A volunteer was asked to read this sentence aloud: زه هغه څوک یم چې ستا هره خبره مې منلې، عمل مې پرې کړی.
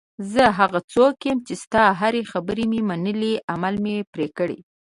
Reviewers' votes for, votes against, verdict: 1, 2, rejected